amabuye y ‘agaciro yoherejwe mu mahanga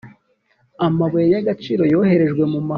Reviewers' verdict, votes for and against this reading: rejected, 0, 2